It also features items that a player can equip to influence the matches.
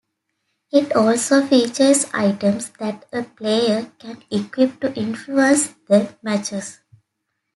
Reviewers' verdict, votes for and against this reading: accepted, 2, 0